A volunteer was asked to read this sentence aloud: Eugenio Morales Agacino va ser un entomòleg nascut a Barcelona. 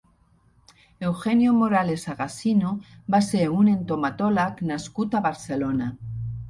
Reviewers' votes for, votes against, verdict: 0, 2, rejected